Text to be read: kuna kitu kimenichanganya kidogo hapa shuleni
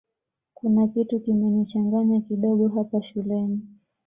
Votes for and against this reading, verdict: 2, 0, accepted